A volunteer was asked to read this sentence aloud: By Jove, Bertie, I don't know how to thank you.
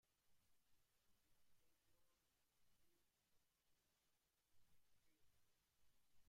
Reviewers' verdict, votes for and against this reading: rejected, 0, 2